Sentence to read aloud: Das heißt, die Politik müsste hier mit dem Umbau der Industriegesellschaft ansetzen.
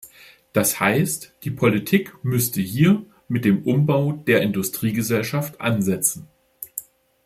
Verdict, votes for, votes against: accepted, 2, 0